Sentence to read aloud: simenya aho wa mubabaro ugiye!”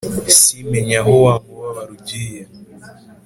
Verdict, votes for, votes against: accepted, 4, 0